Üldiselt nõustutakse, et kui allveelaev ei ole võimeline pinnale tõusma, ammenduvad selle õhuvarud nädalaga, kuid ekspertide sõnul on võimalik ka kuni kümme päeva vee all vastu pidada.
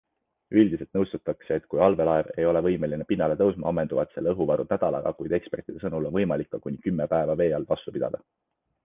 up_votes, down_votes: 2, 0